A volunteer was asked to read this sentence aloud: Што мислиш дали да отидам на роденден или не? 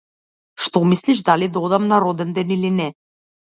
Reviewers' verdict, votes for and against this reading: rejected, 0, 2